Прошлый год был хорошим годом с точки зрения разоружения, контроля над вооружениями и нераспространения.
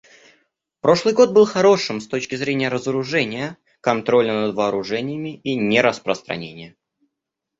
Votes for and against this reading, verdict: 0, 2, rejected